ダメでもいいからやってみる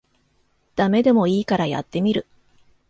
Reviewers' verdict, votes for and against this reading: accepted, 2, 0